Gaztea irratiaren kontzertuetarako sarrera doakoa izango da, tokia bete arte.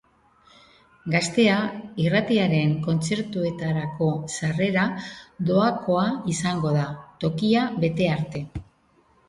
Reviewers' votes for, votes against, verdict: 3, 0, accepted